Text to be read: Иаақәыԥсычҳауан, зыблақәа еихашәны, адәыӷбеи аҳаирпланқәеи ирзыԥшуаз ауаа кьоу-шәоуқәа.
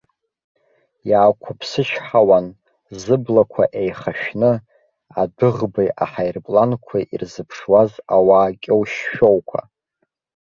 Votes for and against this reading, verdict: 2, 0, accepted